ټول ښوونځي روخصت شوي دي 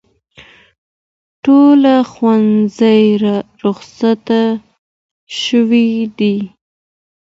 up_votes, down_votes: 2, 0